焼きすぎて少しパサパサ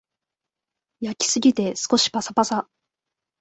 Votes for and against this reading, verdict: 2, 0, accepted